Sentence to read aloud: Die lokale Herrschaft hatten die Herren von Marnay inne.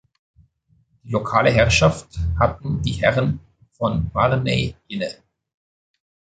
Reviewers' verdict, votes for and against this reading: rejected, 0, 2